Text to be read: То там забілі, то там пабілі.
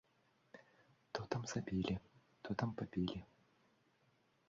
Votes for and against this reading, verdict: 1, 2, rejected